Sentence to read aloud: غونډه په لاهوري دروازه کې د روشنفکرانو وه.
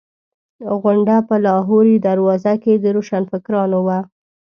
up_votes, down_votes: 2, 0